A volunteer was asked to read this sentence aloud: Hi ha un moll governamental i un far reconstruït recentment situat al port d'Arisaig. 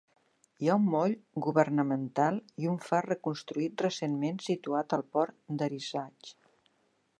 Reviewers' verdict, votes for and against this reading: accepted, 2, 0